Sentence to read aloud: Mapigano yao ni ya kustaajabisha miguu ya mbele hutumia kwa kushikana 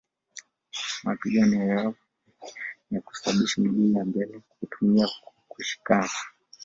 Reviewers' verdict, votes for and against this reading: rejected, 1, 2